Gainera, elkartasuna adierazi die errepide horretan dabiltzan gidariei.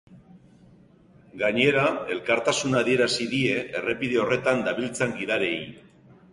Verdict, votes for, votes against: accepted, 2, 0